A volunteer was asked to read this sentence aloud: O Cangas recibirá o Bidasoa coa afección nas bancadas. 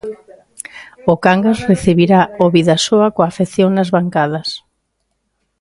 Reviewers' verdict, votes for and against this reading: accepted, 2, 1